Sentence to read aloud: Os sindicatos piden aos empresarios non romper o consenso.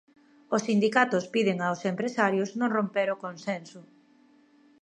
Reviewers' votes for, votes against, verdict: 2, 0, accepted